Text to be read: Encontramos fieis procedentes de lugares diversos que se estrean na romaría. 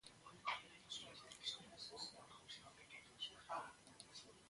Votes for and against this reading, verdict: 0, 2, rejected